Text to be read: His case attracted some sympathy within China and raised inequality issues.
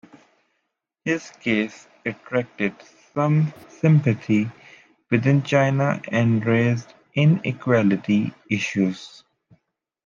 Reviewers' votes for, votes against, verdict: 2, 0, accepted